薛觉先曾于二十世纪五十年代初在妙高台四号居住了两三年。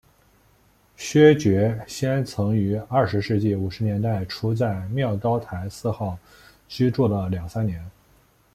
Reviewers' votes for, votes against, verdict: 2, 1, accepted